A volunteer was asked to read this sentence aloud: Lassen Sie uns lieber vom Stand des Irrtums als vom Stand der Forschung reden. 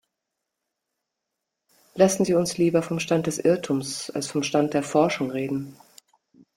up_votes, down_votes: 2, 0